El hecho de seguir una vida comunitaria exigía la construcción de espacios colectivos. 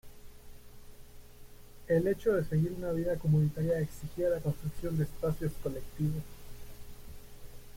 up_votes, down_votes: 0, 2